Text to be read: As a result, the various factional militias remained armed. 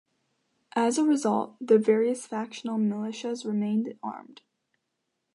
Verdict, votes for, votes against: accepted, 2, 0